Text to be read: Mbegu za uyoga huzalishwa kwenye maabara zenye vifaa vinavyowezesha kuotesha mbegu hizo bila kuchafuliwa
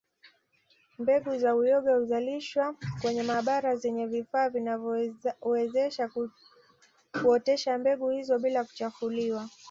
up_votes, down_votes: 1, 2